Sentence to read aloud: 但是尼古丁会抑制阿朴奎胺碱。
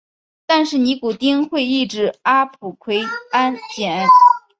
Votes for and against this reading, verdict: 7, 0, accepted